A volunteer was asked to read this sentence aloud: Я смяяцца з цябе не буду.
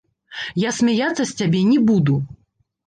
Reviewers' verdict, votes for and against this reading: rejected, 1, 2